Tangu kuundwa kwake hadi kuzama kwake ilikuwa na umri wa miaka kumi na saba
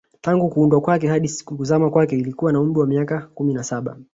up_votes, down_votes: 1, 2